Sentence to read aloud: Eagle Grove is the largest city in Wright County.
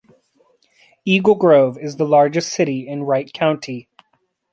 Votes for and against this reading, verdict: 2, 0, accepted